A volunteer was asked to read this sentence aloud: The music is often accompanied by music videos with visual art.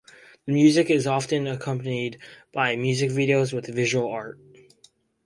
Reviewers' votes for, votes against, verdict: 4, 0, accepted